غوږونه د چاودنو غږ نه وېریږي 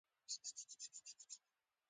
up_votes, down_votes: 0, 2